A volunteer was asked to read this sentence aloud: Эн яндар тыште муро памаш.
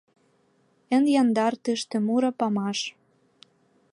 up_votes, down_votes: 2, 0